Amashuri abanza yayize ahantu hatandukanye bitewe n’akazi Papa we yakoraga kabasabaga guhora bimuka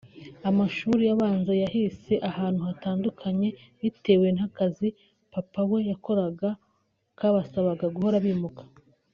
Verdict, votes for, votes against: rejected, 1, 2